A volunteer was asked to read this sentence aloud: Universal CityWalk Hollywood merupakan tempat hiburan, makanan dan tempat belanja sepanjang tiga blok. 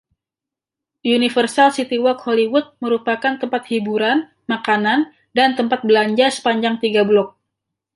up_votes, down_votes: 2, 1